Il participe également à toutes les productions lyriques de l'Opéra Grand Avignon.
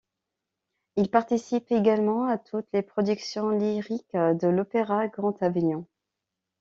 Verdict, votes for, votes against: accepted, 2, 0